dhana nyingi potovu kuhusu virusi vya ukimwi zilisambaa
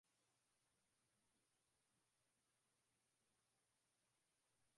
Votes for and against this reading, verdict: 0, 2, rejected